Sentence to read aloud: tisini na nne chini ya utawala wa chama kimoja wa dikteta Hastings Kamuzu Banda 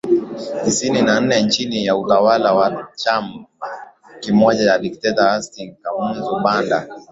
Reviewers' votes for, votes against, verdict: 13, 3, accepted